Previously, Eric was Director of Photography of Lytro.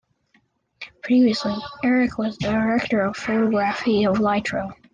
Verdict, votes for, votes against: rejected, 0, 2